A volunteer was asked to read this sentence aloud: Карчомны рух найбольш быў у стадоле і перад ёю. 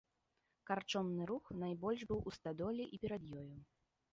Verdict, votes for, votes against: accepted, 2, 0